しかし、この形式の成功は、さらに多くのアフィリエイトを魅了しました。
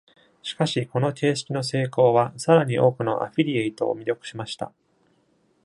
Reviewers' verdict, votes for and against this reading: rejected, 1, 2